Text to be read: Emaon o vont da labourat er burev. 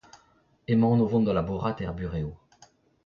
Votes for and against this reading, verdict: 0, 2, rejected